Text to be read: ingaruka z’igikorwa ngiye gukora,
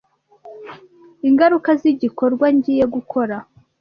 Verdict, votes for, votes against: accepted, 2, 0